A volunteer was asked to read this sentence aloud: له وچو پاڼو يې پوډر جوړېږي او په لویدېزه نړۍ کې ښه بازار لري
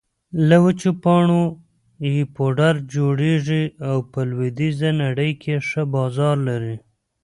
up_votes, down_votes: 2, 0